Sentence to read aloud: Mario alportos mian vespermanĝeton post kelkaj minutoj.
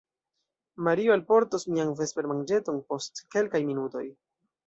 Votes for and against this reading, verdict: 0, 2, rejected